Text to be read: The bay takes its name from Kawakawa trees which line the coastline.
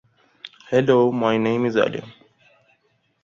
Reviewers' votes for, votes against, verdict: 1, 2, rejected